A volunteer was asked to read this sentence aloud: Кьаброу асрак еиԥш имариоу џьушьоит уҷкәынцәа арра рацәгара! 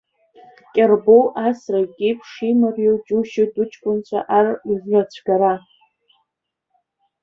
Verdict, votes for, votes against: rejected, 0, 2